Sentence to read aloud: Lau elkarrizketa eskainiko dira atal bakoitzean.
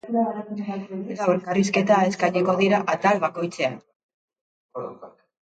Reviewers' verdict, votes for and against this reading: rejected, 0, 2